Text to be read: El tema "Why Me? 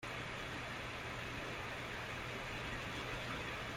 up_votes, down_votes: 0, 2